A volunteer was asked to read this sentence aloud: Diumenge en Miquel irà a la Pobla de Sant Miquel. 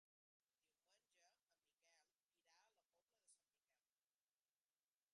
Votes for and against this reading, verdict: 1, 4, rejected